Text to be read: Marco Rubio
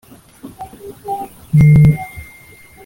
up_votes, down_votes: 0, 2